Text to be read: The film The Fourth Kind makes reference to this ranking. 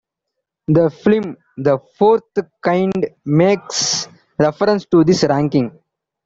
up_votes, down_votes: 0, 2